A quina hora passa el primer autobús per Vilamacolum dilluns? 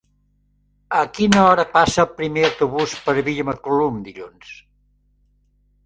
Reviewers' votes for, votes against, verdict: 2, 0, accepted